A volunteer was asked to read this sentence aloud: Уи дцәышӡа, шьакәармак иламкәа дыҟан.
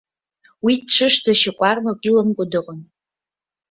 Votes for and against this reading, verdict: 2, 0, accepted